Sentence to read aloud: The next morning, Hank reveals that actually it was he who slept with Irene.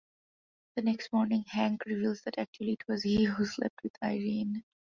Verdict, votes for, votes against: accepted, 2, 0